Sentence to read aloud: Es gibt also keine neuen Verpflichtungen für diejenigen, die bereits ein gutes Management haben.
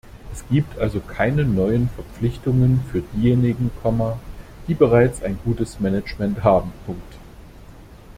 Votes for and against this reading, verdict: 0, 2, rejected